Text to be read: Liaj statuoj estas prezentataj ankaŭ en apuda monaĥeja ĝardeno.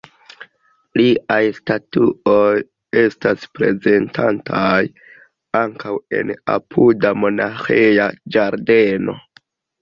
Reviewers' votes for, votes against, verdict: 0, 2, rejected